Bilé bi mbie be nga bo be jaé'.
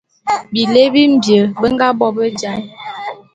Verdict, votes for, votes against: rejected, 0, 2